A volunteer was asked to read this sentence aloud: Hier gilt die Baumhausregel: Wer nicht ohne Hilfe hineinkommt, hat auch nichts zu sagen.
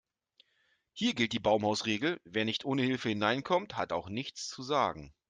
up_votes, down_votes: 2, 0